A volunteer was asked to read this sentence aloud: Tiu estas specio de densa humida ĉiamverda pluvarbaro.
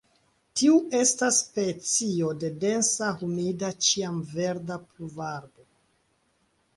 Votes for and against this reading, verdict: 3, 2, accepted